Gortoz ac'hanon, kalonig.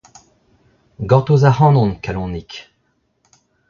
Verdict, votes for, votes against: rejected, 1, 2